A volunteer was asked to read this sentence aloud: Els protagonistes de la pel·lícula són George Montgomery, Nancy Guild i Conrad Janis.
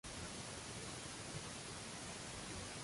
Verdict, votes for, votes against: rejected, 0, 2